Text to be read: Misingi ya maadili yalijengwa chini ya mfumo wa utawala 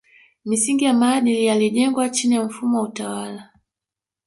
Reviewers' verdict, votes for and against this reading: rejected, 0, 2